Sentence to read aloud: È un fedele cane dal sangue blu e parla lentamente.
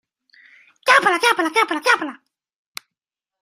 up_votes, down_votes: 0, 2